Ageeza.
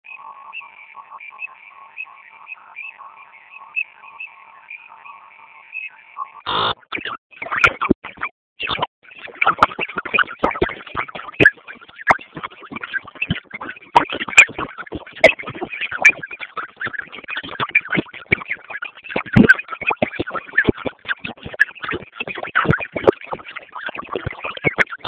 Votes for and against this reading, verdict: 0, 2, rejected